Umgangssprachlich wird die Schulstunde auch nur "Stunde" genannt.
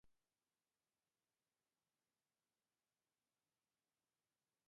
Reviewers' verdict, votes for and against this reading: rejected, 0, 2